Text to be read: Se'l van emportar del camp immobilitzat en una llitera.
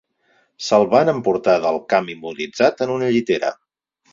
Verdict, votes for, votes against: rejected, 2, 4